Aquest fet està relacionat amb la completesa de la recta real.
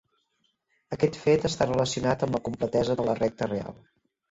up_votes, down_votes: 2, 0